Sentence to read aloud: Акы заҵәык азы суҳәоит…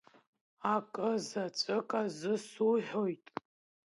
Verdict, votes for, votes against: accepted, 2, 0